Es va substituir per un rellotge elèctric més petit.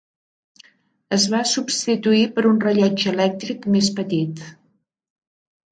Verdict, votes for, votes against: accepted, 4, 0